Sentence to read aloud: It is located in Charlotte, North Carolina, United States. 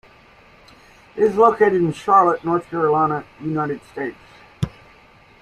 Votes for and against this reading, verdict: 2, 1, accepted